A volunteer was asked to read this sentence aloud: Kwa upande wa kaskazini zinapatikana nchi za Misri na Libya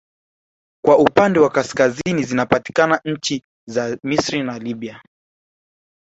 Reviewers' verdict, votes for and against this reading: rejected, 1, 3